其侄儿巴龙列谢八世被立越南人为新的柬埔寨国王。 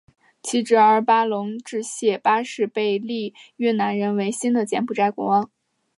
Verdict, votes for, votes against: accepted, 2, 0